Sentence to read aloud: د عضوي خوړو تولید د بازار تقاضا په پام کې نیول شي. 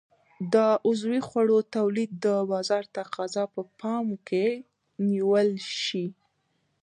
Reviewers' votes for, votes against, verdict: 0, 2, rejected